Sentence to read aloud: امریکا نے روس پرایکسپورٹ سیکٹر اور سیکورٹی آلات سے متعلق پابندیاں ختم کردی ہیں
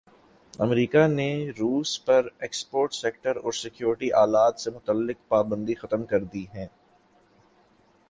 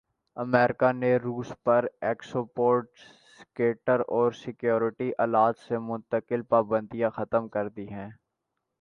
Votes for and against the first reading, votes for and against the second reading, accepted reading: 5, 1, 2, 5, first